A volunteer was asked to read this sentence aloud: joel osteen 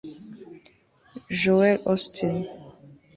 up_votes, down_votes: 1, 2